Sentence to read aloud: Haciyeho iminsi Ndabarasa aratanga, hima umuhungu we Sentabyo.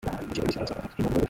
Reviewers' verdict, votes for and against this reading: rejected, 0, 2